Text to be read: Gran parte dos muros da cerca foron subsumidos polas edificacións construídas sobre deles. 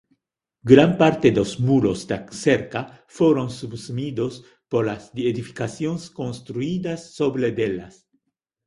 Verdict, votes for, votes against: rejected, 0, 2